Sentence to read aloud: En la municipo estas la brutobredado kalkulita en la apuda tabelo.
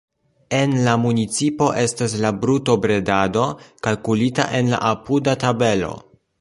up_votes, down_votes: 2, 0